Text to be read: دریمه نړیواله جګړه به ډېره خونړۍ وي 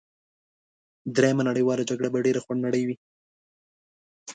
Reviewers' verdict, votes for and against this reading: accepted, 2, 0